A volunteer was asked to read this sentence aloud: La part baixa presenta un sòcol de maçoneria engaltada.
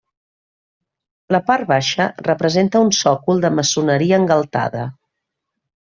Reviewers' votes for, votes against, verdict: 0, 2, rejected